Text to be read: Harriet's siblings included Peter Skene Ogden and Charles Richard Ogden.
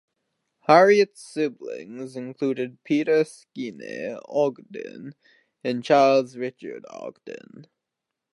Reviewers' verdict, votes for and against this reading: rejected, 0, 2